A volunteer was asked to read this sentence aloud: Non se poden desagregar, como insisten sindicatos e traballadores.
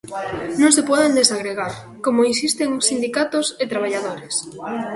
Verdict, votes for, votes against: accepted, 2, 0